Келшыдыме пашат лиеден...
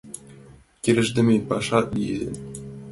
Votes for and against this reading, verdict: 1, 2, rejected